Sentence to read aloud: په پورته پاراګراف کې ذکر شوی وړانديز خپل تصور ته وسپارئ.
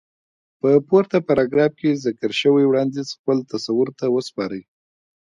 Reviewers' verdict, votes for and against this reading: accepted, 2, 0